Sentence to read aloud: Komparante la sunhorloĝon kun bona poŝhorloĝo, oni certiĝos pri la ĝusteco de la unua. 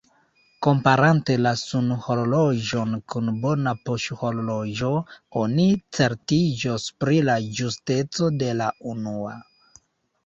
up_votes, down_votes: 1, 2